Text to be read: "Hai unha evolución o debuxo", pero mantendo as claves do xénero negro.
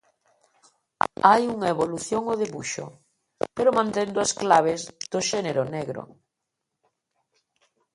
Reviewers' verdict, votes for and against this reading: rejected, 1, 2